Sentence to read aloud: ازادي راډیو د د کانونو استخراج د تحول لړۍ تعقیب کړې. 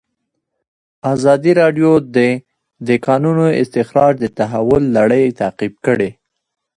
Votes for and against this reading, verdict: 2, 1, accepted